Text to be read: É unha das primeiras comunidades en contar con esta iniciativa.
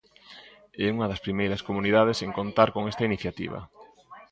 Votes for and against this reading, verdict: 1, 2, rejected